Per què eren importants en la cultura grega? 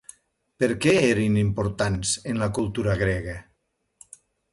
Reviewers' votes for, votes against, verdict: 2, 0, accepted